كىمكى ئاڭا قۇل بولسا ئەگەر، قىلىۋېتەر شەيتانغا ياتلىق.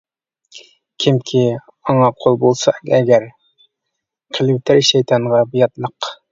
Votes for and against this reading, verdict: 1, 2, rejected